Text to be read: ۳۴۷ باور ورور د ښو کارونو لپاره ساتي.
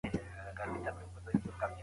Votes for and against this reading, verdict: 0, 2, rejected